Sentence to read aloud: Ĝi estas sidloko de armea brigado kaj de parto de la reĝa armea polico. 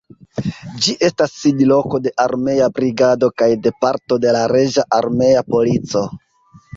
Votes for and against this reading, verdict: 0, 2, rejected